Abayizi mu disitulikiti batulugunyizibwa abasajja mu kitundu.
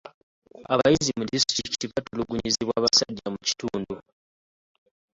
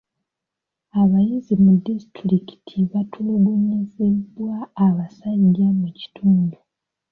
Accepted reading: second